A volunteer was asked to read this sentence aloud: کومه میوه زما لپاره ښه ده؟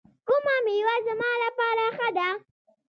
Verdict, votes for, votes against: accepted, 2, 0